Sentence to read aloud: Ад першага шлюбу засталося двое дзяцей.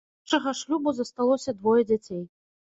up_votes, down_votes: 0, 2